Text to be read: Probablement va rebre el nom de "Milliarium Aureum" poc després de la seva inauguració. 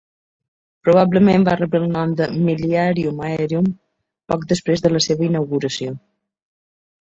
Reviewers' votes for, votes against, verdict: 1, 2, rejected